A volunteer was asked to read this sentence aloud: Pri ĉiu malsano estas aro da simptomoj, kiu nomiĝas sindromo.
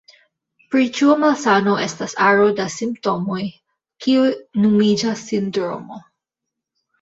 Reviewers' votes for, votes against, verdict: 0, 2, rejected